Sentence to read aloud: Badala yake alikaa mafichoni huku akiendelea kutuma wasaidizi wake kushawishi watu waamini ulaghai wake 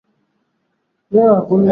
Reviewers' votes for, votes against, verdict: 0, 5, rejected